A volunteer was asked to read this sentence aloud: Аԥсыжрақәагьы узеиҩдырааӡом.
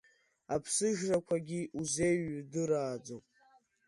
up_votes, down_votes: 2, 1